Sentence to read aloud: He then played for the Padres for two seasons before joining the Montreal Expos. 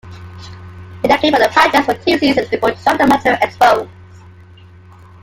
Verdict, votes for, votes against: rejected, 0, 2